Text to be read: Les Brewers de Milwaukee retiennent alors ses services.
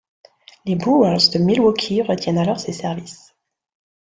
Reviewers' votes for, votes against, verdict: 2, 1, accepted